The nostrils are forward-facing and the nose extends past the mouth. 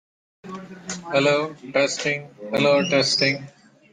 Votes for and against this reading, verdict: 0, 2, rejected